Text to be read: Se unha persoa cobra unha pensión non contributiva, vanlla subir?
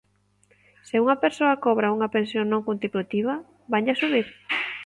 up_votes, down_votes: 3, 1